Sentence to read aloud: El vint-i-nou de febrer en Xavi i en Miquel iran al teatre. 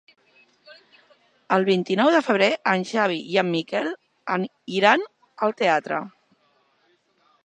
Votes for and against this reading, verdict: 0, 3, rejected